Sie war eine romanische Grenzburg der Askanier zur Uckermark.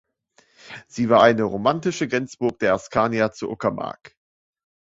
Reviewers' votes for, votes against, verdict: 0, 2, rejected